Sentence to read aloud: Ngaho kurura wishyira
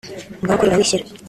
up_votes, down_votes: 0, 2